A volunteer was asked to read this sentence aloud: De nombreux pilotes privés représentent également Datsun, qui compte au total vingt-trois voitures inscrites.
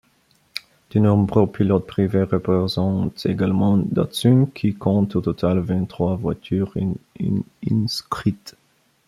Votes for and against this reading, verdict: 0, 2, rejected